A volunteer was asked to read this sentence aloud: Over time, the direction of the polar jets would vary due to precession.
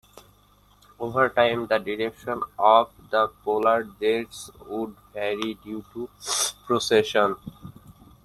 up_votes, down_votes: 0, 2